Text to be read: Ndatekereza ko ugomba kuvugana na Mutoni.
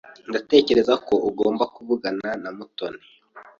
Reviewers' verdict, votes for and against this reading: accepted, 2, 0